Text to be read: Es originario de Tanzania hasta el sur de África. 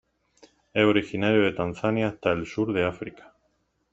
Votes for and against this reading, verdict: 1, 2, rejected